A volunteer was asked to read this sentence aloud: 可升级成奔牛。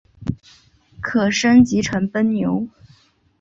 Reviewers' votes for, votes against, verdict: 2, 0, accepted